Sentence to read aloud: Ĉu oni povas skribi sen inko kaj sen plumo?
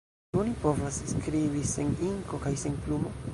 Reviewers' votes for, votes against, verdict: 1, 2, rejected